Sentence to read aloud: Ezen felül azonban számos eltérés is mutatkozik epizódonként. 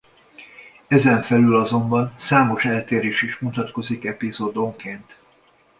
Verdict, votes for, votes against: accepted, 2, 0